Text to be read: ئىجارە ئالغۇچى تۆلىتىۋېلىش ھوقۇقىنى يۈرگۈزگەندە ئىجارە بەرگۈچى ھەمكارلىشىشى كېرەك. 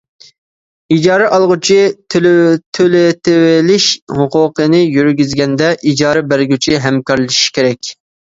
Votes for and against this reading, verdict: 2, 1, accepted